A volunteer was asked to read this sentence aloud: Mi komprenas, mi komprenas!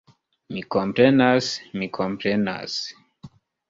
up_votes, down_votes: 2, 0